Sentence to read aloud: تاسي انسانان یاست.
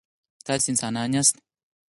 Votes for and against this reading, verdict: 4, 0, accepted